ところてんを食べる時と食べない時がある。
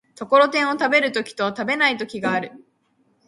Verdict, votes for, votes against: accepted, 2, 1